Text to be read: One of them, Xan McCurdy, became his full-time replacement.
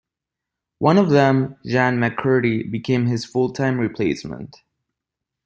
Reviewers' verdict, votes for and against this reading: accepted, 2, 0